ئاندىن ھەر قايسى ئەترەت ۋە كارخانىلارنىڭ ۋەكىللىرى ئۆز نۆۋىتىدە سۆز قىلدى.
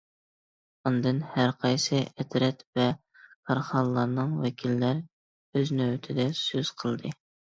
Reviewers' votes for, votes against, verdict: 0, 2, rejected